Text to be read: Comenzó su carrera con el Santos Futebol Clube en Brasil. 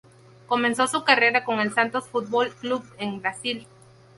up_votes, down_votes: 0, 2